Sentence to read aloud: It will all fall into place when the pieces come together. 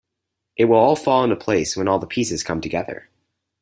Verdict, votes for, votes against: rejected, 2, 4